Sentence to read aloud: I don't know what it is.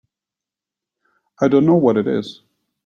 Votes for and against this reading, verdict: 1, 2, rejected